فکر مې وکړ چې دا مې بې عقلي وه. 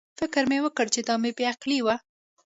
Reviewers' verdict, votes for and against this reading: accepted, 2, 0